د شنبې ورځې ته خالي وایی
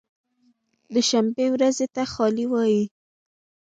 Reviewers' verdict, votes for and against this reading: accepted, 2, 0